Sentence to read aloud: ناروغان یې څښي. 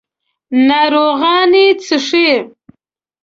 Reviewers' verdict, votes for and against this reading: accepted, 2, 0